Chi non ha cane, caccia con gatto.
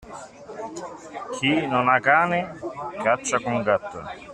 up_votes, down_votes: 2, 0